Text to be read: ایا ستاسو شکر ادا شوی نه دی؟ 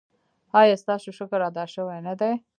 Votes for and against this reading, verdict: 0, 2, rejected